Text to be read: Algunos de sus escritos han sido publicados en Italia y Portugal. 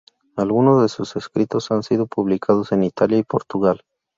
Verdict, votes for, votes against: rejected, 0, 2